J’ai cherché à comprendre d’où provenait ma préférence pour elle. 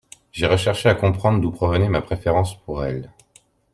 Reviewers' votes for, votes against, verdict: 0, 2, rejected